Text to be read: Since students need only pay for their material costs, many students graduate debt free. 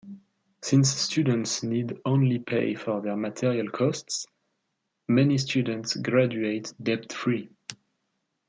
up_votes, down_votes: 1, 2